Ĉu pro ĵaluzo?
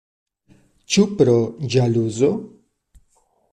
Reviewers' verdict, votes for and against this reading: accepted, 2, 0